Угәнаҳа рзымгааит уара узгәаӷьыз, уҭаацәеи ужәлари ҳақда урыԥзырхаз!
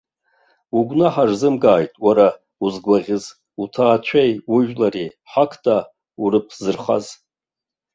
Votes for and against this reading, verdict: 0, 2, rejected